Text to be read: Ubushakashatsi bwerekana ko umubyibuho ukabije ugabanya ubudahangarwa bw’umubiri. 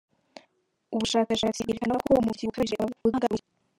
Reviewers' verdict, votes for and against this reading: rejected, 1, 4